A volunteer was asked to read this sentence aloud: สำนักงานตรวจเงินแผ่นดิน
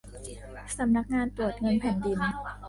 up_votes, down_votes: 2, 3